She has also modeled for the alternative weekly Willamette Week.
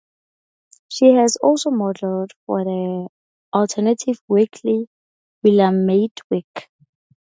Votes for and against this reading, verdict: 2, 0, accepted